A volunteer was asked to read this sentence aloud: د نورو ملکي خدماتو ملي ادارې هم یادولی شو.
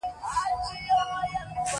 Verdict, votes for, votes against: rejected, 0, 2